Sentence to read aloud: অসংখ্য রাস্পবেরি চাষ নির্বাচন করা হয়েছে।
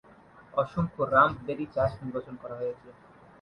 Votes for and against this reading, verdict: 3, 3, rejected